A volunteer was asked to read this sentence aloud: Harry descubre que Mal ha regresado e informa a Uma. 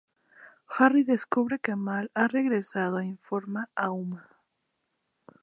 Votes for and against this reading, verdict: 2, 0, accepted